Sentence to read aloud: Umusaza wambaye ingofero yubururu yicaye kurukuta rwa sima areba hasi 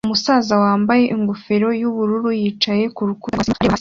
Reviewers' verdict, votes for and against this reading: rejected, 0, 2